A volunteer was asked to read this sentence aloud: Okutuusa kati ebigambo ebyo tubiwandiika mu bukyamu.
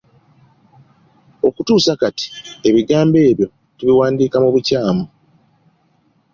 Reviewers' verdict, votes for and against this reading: accepted, 2, 0